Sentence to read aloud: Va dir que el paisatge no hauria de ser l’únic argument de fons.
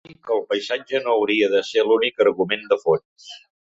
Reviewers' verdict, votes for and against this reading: rejected, 0, 2